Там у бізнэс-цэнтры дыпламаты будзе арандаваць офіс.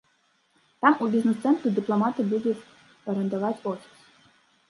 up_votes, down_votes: 0, 2